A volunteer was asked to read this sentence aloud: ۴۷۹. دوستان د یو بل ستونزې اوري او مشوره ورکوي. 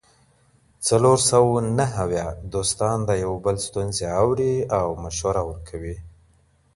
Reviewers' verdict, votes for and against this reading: rejected, 0, 2